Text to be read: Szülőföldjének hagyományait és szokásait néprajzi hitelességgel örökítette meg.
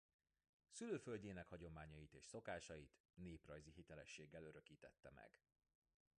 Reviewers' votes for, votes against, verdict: 1, 2, rejected